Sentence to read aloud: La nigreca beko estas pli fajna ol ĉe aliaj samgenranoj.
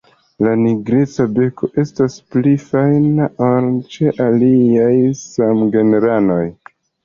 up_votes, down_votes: 2, 0